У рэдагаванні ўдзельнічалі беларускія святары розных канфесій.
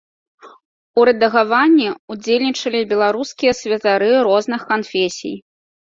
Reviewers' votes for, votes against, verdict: 2, 0, accepted